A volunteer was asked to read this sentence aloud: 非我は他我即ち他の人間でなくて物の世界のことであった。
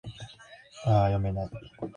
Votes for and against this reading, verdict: 4, 6, rejected